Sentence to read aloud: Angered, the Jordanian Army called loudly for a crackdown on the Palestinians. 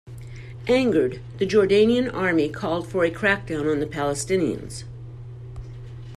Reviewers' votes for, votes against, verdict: 0, 2, rejected